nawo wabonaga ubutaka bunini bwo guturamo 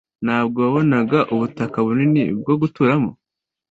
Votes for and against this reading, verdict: 2, 0, accepted